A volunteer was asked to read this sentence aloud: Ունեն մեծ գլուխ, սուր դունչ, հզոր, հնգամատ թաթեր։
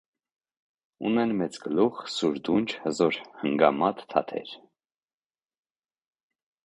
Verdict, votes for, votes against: rejected, 1, 2